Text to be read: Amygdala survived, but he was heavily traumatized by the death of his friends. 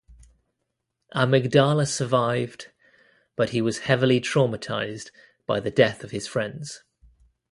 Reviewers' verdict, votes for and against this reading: accepted, 2, 0